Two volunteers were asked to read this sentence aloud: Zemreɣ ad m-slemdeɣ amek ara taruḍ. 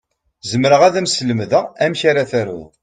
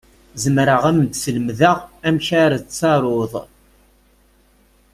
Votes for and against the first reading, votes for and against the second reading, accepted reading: 2, 0, 0, 2, first